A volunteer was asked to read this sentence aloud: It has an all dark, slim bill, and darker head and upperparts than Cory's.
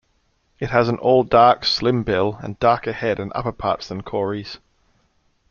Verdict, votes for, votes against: accepted, 2, 0